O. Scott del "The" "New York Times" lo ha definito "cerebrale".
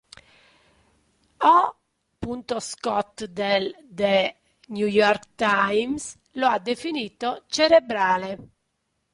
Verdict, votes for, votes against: rejected, 2, 3